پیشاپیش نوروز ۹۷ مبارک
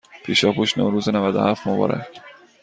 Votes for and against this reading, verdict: 0, 2, rejected